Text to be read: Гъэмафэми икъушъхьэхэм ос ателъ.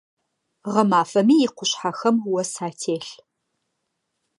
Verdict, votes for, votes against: accepted, 2, 0